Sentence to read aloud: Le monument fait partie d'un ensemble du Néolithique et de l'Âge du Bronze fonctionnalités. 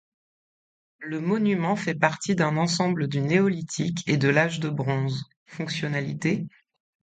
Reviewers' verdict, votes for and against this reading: rejected, 1, 2